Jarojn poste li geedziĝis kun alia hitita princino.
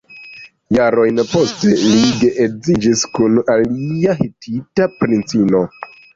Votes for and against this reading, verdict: 1, 2, rejected